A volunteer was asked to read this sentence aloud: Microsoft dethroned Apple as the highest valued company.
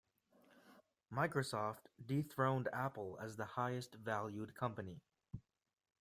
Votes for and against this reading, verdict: 2, 0, accepted